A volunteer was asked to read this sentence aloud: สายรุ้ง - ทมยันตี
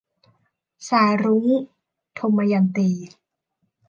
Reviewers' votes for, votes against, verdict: 2, 0, accepted